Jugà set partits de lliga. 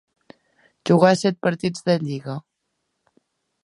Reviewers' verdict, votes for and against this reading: accepted, 2, 0